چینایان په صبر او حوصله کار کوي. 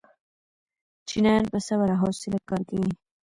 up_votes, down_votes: 2, 1